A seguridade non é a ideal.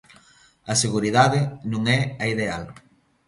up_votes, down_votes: 2, 0